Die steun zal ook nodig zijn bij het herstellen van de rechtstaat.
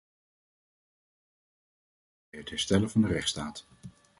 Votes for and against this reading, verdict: 1, 2, rejected